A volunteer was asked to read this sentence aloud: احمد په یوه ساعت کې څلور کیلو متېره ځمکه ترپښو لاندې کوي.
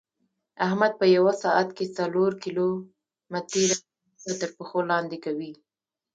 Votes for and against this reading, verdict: 1, 2, rejected